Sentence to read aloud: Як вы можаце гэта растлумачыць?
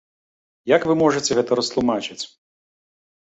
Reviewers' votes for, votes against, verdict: 2, 0, accepted